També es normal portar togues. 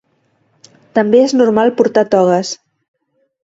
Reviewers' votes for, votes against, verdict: 2, 0, accepted